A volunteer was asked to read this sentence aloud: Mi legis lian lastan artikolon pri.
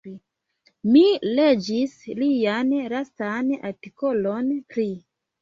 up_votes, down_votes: 0, 2